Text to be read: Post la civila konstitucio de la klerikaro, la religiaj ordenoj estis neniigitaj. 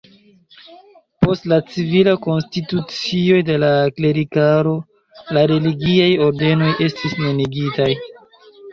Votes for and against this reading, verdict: 1, 2, rejected